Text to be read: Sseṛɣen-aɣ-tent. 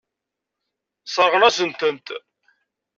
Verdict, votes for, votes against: rejected, 1, 2